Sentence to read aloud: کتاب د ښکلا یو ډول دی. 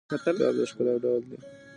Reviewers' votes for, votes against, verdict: 0, 2, rejected